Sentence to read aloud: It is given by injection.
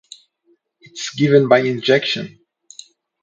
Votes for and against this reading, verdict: 0, 2, rejected